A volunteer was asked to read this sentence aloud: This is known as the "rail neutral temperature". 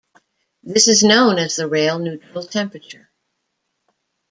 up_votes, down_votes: 2, 1